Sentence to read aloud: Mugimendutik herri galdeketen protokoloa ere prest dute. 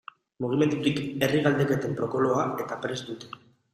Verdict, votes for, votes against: rejected, 1, 2